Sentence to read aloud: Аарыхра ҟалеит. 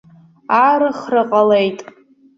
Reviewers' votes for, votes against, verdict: 2, 0, accepted